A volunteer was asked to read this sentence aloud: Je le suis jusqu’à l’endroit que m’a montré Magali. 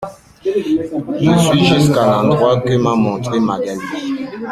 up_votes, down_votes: 1, 2